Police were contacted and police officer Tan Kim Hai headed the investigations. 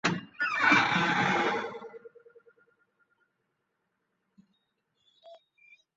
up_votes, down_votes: 0, 2